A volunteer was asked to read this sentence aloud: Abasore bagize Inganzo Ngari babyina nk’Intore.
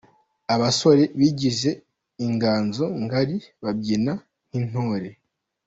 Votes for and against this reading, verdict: 2, 0, accepted